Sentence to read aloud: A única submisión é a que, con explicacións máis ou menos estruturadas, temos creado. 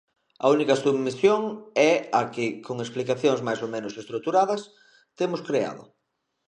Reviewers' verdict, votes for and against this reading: accepted, 2, 0